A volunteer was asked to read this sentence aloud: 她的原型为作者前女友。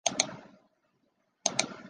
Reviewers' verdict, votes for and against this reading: rejected, 0, 2